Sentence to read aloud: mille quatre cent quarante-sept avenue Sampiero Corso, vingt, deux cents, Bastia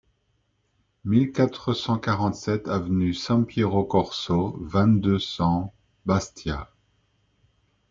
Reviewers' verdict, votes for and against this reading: accepted, 2, 0